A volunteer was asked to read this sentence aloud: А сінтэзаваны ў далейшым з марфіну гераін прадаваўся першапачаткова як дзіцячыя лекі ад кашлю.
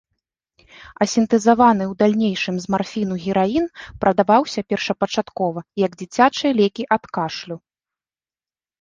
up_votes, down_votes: 0, 2